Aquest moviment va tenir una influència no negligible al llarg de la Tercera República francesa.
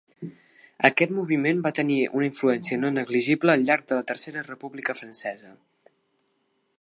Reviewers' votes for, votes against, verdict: 2, 0, accepted